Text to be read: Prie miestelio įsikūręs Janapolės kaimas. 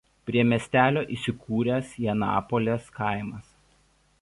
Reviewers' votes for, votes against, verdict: 2, 0, accepted